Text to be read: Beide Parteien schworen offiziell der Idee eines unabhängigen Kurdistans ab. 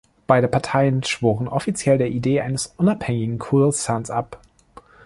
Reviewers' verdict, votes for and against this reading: rejected, 1, 2